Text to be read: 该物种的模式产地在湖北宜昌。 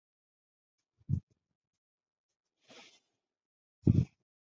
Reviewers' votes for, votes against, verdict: 0, 2, rejected